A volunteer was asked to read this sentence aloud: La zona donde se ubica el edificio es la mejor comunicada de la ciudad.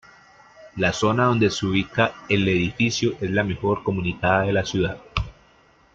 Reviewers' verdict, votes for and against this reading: accepted, 2, 0